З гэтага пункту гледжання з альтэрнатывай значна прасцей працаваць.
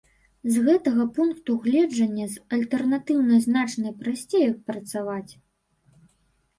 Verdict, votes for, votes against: rejected, 0, 2